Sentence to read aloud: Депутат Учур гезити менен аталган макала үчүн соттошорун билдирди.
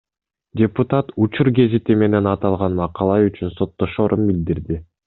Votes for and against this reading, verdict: 2, 0, accepted